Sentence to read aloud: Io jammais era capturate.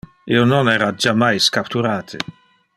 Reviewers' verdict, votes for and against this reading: rejected, 0, 2